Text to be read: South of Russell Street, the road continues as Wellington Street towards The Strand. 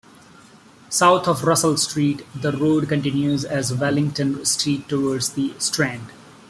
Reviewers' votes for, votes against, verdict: 2, 0, accepted